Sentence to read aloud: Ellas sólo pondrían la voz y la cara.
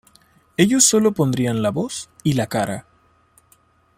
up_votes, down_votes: 0, 2